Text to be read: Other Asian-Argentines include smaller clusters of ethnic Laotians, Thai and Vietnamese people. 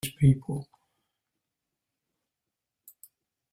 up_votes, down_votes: 0, 2